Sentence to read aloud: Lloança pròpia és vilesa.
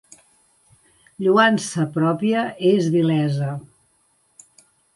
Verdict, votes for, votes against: accepted, 2, 1